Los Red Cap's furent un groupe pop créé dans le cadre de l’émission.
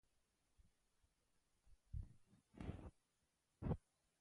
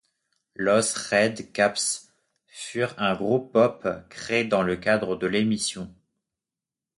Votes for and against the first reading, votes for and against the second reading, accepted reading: 0, 2, 2, 1, second